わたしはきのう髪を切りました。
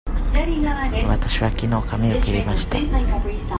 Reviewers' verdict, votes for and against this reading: rejected, 0, 2